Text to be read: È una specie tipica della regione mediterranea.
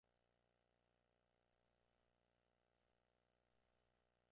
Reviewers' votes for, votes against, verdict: 0, 2, rejected